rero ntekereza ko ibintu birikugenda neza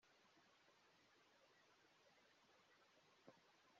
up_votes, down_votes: 0, 2